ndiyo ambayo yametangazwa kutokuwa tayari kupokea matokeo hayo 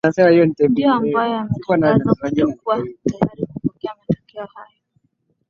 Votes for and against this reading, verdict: 8, 8, rejected